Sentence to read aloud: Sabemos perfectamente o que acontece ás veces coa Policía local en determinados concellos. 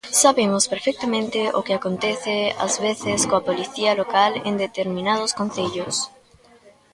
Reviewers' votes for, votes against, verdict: 2, 1, accepted